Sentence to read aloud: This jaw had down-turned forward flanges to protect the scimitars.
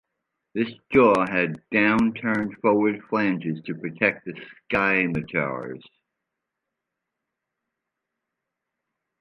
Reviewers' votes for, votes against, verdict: 2, 0, accepted